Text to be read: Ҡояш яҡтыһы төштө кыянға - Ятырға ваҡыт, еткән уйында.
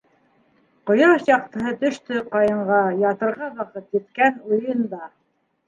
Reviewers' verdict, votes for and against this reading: accepted, 2, 1